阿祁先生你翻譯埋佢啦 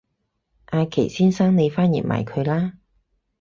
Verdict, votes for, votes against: accepted, 4, 0